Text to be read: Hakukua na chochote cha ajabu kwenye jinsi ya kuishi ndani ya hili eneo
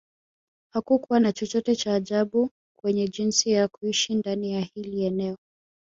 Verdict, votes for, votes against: accepted, 2, 0